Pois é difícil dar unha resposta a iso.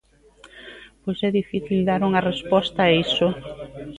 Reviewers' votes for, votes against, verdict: 2, 0, accepted